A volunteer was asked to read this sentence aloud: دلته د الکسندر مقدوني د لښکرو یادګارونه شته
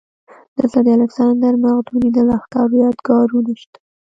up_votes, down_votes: 2, 0